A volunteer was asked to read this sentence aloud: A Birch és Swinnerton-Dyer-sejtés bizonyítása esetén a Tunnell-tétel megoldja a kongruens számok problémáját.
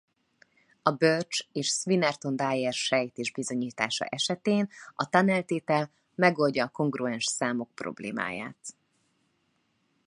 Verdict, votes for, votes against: accepted, 2, 0